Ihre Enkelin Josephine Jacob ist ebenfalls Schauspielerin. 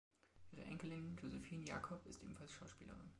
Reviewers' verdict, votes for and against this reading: accepted, 2, 1